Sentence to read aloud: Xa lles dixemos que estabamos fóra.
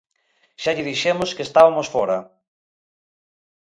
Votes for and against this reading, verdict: 0, 2, rejected